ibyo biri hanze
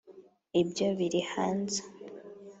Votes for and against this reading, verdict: 2, 0, accepted